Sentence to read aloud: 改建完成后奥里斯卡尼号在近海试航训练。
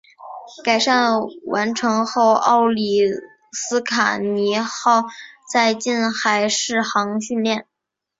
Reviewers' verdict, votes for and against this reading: accepted, 2, 1